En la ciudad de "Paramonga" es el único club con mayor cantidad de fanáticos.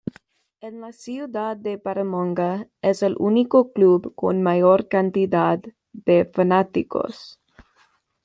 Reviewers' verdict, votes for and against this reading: accepted, 2, 0